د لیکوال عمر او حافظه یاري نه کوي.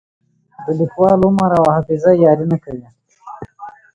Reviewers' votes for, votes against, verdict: 2, 1, accepted